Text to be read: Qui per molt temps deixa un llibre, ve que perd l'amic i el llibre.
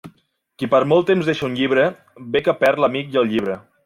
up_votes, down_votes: 2, 0